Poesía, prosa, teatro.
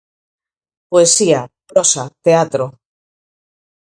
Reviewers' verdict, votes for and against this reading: accepted, 4, 0